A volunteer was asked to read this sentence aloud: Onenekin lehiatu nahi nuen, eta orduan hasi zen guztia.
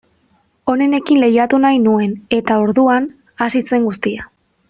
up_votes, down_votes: 2, 0